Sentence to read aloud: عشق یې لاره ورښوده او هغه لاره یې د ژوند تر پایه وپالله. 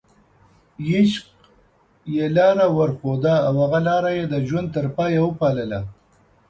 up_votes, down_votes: 2, 0